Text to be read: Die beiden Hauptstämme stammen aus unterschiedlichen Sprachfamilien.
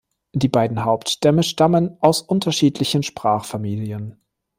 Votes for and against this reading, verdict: 2, 0, accepted